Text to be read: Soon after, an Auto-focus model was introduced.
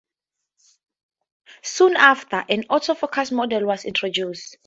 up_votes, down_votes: 2, 0